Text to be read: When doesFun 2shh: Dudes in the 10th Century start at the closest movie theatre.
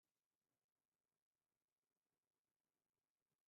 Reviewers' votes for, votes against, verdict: 0, 2, rejected